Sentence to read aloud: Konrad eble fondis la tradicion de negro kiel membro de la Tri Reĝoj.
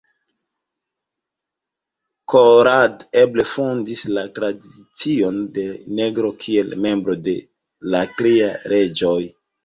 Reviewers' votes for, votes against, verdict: 0, 2, rejected